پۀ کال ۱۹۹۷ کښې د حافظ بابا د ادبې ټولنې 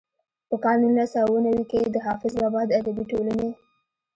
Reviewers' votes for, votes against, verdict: 0, 2, rejected